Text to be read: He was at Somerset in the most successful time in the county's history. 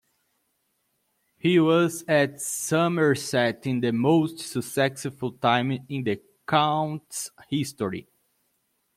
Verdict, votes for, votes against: rejected, 0, 2